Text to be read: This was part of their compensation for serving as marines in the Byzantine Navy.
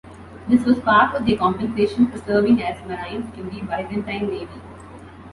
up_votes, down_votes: 2, 0